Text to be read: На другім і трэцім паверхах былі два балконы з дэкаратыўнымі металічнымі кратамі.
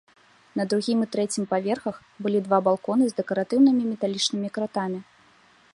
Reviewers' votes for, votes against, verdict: 1, 2, rejected